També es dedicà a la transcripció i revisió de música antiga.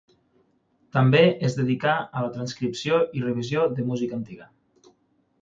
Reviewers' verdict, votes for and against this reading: accepted, 6, 0